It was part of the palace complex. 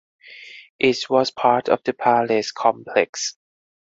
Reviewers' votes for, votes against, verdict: 4, 0, accepted